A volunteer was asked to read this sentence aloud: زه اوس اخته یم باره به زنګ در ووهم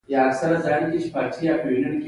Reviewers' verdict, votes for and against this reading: accepted, 2, 1